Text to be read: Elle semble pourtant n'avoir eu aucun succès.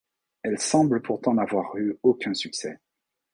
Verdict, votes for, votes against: accepted, 2, 0